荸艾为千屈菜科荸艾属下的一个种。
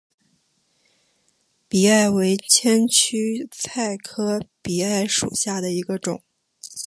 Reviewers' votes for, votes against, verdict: 1, 2, rejected